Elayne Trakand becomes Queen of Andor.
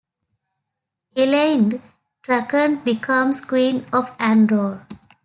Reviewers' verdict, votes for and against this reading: accepted, 2, 0